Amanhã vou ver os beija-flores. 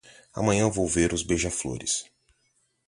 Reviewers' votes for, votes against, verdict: 2, 0, accepted